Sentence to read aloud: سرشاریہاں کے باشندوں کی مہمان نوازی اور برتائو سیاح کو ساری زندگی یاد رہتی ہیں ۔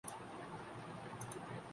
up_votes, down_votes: 1, 2